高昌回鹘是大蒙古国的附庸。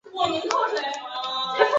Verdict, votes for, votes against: rejected, 1, 2